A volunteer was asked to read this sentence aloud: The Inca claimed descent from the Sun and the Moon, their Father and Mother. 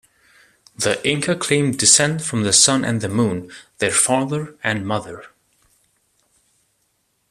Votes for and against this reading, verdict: 2, 0, accepted